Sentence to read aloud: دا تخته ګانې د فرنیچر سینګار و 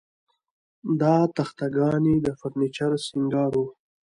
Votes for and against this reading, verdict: 2, 1, accepted